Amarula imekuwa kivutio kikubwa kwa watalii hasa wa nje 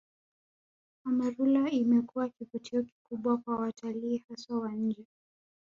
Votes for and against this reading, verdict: 1, 2, rejected